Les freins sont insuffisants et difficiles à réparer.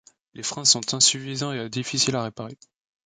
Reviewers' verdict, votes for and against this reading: rejected, 0, 2